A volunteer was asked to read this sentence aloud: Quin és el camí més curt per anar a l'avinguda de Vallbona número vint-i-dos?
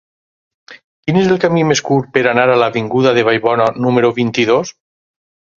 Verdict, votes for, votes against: accepted, 4, 0